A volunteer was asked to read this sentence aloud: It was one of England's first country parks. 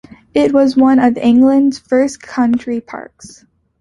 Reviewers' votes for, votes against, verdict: 2, 0, accepted